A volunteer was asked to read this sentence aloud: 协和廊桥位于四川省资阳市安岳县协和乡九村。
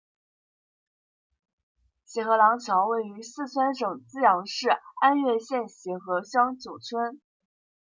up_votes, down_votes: 2, 0